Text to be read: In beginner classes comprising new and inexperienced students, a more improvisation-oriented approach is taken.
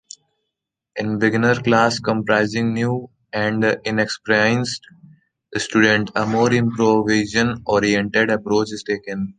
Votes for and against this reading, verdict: 0, 2, rejected